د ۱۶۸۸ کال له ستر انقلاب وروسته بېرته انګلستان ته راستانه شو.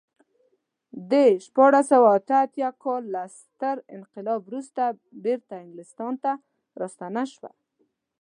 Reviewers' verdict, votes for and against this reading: rejected, 0, 2